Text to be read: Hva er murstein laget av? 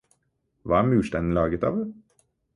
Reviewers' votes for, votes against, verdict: 4, 0, accepted